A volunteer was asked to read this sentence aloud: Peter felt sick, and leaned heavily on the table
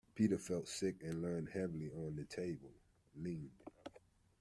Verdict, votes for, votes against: rejected, 1, 2